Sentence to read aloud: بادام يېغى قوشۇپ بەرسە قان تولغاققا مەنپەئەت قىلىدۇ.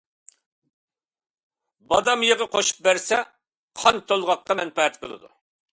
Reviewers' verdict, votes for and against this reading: accepted, 2, 0